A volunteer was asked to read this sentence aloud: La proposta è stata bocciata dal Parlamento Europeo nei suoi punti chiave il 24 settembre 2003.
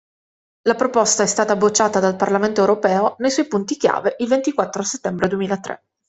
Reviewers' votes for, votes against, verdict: 0, 2, rejected